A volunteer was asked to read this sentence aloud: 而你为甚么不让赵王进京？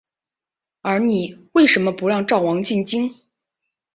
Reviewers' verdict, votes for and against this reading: accepted, 2, 0